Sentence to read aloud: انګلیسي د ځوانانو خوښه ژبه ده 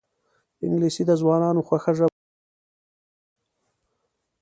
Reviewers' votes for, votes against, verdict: 0, 2, rejected